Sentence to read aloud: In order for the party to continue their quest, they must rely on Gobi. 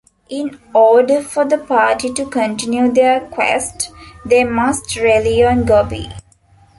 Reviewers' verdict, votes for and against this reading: rejected, 0, 2